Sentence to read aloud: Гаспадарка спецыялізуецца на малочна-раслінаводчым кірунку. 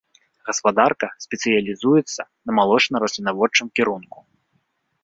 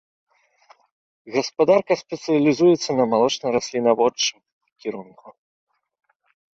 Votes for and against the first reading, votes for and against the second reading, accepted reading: 2, 0, 1, 2, first